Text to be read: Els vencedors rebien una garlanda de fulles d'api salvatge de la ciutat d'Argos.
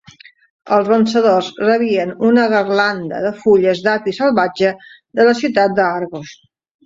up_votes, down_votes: 2, 0